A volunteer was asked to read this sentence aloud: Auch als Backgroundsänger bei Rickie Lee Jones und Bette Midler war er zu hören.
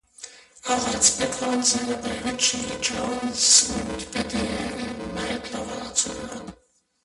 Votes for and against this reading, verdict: 0, 2, rejected